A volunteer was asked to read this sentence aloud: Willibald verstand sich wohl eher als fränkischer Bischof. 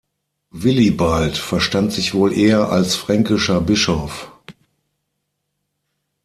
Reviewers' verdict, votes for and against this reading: accepted, 6, 0